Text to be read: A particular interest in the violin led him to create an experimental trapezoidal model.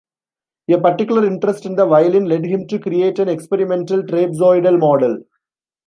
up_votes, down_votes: 0, 2